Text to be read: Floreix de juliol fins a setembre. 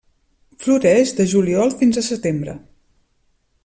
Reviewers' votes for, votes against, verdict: 3, 0, accepted